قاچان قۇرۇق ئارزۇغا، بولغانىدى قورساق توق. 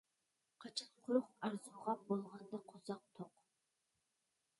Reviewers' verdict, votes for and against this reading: rejected, 0, 2